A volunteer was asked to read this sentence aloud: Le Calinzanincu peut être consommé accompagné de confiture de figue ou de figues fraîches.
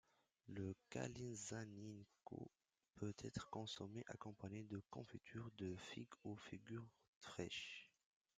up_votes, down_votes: 1, 2